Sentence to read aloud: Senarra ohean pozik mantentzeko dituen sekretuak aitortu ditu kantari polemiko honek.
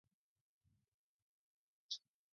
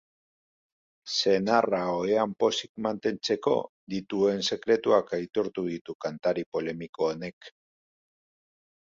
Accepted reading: second